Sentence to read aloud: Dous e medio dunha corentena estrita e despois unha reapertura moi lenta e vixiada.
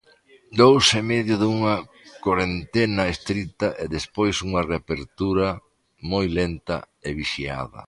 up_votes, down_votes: 0, 2